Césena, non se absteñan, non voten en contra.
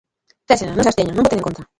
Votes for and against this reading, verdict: 1, 2, rejected